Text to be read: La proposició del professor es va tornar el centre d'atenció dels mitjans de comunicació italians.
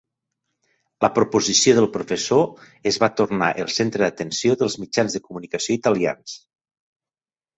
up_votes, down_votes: 3, 0